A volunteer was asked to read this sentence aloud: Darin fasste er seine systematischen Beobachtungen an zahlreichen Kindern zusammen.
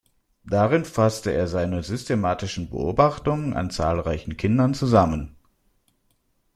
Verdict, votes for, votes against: accepted, 2, 0